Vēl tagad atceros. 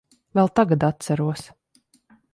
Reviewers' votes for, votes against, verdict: 1, 2, rejected